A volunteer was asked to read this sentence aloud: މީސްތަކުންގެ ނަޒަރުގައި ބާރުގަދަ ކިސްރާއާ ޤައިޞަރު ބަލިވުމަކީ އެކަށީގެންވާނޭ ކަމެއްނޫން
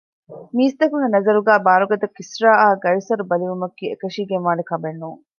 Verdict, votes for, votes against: accepted, 2, 0